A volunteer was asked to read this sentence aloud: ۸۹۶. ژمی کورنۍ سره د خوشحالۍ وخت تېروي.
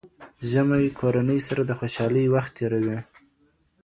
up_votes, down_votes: 0, 2